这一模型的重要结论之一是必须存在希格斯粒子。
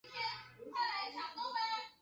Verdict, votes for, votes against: rejected, 0, 4